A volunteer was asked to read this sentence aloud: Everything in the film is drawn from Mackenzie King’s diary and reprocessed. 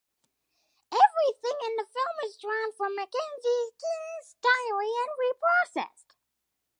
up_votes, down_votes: 2, 0